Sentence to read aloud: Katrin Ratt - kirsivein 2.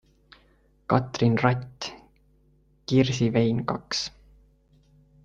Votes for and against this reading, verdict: 0, 2, rejected